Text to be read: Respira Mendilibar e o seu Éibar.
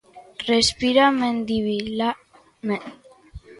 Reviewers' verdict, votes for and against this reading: rejected, 0, 2